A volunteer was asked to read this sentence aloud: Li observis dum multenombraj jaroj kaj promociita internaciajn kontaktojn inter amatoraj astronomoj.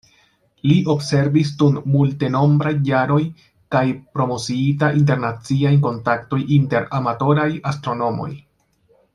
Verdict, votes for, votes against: accepted, 2, 1